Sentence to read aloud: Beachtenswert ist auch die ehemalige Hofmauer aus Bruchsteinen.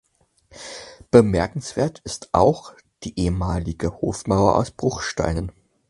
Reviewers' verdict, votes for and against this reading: rejected, 0, 4